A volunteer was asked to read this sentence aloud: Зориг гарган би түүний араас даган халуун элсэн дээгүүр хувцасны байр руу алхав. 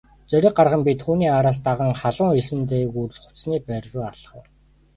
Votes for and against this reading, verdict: 2, 0, accepted